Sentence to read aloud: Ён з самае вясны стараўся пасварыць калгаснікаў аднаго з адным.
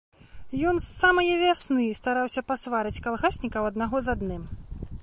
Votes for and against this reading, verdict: 0, 2, rejected